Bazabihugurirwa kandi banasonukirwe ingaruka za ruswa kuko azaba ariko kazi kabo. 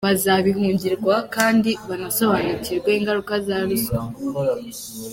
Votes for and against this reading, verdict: 1, 2, rejected